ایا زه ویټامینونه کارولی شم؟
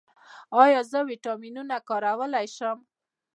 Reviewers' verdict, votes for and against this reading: rejected, 0, 2